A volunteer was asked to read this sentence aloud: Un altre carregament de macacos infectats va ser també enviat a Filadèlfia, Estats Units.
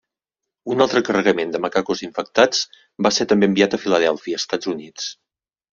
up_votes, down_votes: 2, 1